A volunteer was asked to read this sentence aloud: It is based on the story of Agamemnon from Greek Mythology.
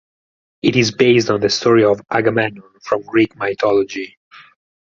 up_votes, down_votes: 4, 0